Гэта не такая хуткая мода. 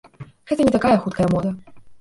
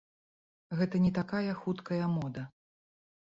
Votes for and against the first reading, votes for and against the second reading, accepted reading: 0, 2, 2, 0, second